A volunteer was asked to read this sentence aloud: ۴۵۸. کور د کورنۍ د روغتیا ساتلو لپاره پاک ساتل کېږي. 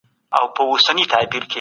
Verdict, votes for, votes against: rejected, 0, 2